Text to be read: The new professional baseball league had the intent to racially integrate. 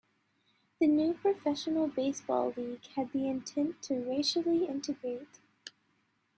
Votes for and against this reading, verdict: 1, 2, rejected